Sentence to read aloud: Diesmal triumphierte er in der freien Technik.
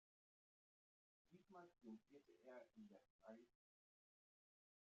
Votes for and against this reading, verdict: 0, 3, rejected